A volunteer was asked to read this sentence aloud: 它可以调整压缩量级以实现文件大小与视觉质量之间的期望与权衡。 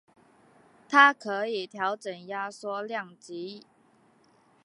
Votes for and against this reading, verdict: 6, 5, accepted